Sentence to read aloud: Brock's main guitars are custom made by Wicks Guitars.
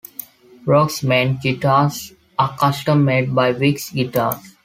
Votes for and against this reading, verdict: 2, 0, accepted